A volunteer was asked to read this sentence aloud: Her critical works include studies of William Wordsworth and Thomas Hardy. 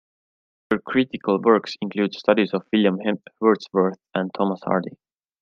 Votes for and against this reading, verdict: 1, 2, rejected